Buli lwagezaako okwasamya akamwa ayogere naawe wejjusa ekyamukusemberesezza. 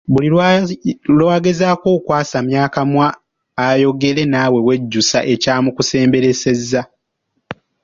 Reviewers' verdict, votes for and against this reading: accepted, 2, 1